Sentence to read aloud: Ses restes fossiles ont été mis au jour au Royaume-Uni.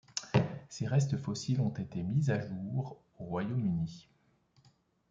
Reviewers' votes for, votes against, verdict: 1, 2, rejected